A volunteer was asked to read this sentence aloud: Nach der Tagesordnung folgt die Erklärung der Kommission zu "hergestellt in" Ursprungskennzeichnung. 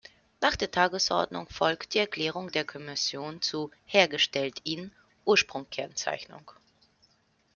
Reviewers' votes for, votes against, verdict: 1, 2, rejected